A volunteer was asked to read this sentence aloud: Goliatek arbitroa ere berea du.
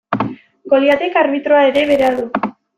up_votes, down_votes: 2, 0